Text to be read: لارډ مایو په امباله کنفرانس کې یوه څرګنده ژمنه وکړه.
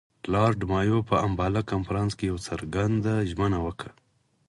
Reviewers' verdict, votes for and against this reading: rejected, 0, 4